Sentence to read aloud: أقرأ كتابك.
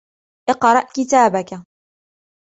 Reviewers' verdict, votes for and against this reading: accepted, 2, 0